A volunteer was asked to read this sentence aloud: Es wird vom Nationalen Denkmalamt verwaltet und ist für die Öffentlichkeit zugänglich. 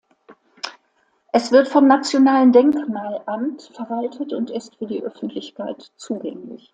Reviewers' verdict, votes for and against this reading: accepted, 2, 0